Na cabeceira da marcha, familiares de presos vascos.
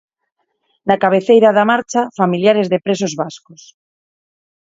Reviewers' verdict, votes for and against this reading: accepted, 4, 0